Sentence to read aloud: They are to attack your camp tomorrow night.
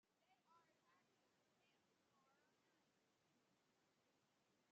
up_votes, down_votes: 0, 2